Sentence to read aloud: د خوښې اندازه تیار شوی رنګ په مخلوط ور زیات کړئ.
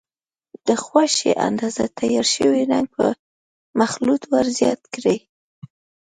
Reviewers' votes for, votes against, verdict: 2, 1, accepted